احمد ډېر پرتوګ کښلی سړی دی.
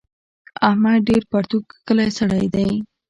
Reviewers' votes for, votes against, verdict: 2, 1, accepted